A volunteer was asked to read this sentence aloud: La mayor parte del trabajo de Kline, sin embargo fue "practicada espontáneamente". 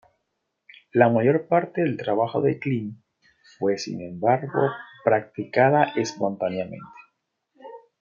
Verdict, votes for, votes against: rejected, 1, 2